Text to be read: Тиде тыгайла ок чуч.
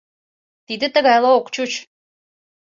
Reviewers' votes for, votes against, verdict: 2, 0, accepted